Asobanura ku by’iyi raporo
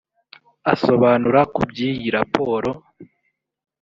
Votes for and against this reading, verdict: 2, 0, accepted